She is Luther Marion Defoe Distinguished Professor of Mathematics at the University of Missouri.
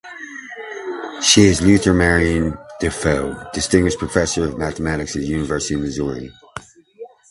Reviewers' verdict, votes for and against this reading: rejected, 1, 2